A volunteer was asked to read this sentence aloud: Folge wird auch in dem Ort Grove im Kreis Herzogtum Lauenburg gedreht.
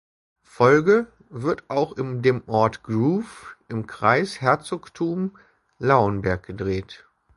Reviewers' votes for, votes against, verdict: 0, 2, rejected